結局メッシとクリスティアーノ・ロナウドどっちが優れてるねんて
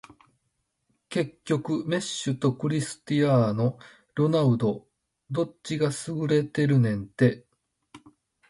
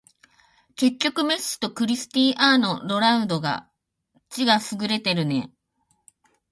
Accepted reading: first